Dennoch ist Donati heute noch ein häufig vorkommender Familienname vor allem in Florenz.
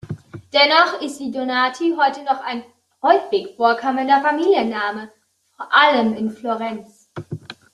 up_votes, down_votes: 0, 2